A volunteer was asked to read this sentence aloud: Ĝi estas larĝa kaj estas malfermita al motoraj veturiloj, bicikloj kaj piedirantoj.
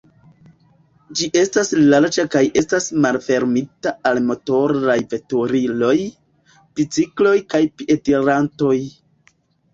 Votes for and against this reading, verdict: 2, 1, accepted